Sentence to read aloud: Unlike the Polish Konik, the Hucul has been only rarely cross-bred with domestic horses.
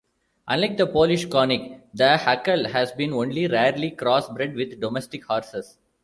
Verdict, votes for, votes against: accepted, 2, 0